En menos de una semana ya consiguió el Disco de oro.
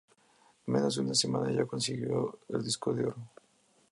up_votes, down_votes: 2, 0